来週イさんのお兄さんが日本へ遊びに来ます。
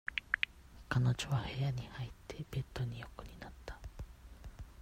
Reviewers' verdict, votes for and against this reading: rejected, 0, 2